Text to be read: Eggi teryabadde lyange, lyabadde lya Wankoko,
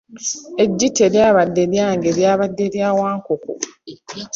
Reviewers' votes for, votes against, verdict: 2, 0, accepted